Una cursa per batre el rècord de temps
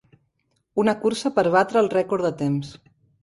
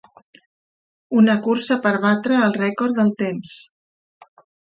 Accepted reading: first